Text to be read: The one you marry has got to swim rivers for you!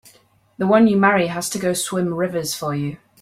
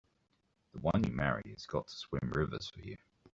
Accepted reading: second